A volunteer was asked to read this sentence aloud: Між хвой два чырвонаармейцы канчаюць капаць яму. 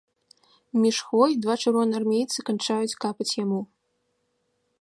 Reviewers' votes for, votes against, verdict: 0, 2, rejected